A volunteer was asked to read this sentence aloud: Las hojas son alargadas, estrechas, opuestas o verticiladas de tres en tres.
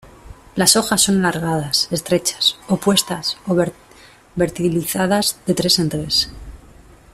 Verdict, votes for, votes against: rejected, 1, 2